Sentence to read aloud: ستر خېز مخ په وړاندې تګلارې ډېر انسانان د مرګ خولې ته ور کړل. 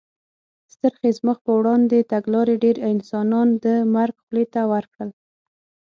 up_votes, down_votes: 6, 0